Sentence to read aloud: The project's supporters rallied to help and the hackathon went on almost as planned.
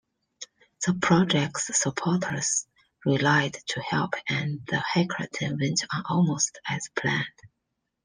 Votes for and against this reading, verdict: 0, 2, rejected